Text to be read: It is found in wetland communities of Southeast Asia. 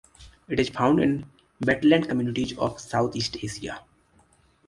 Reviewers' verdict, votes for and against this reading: accepted, 2, 0